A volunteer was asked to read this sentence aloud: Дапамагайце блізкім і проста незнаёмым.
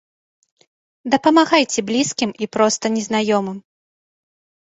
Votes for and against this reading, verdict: 2, 0, accepted